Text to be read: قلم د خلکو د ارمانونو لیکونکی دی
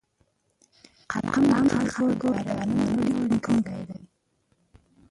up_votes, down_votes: 0, 2